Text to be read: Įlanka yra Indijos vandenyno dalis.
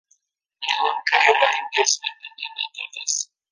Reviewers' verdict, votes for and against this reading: rejected, 0, 2